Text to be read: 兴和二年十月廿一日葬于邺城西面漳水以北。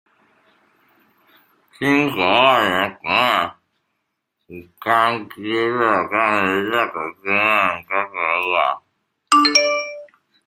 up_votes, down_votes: 0, 2